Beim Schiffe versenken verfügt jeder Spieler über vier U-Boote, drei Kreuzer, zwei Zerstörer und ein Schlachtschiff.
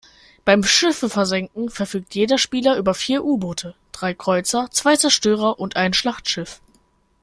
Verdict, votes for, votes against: accepted, 2, 0